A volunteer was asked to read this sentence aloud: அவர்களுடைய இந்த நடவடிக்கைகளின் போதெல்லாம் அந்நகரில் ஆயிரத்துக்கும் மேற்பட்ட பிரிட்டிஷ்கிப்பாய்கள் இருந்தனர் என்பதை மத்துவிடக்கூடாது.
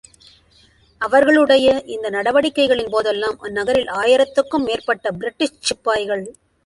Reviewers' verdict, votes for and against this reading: rejected, 0, 2